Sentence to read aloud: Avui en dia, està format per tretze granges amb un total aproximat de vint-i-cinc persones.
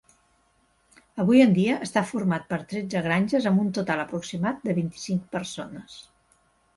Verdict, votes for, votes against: rejected, 1, 2